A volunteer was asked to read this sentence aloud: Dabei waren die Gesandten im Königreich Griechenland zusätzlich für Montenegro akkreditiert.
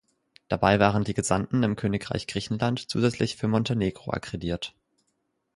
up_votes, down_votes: 2, 4